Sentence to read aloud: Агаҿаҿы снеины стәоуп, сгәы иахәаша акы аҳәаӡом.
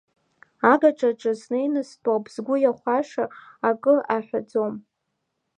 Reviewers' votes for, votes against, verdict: 2, 0, accepted